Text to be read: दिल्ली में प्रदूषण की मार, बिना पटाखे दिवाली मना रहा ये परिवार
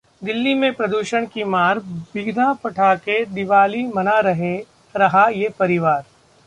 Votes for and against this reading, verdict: 0, 2, rejected